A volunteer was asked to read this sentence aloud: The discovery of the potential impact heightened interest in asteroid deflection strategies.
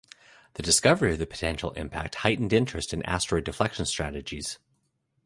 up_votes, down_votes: 2, 0